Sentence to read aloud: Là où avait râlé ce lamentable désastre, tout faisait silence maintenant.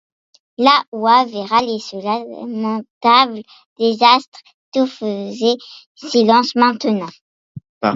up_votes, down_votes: 1, 2